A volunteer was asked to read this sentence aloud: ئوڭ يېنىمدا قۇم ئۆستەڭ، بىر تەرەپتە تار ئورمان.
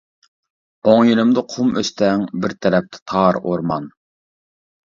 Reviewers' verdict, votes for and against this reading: accepted, 2, 0